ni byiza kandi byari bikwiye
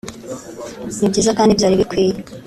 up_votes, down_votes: 2, 0